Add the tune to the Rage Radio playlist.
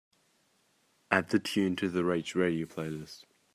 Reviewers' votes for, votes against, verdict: 2, 0, accepted